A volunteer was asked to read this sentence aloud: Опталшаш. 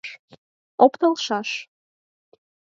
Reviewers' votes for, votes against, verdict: 4, 0, accepted